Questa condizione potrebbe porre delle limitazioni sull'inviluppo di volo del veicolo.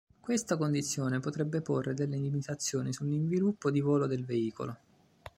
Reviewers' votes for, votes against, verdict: 2, 0, accepted